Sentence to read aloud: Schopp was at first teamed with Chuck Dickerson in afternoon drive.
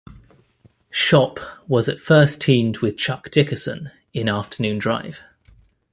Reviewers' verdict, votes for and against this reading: accepted, 2, 0